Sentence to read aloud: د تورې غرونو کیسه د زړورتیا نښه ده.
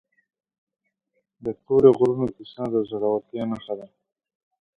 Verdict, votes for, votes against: rejected, 1, 2